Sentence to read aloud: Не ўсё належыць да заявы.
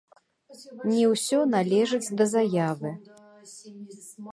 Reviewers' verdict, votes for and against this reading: rejected, 0, 2